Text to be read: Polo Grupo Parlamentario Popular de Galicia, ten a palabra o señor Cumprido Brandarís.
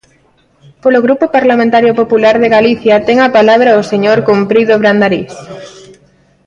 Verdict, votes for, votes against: rejected, 1, 2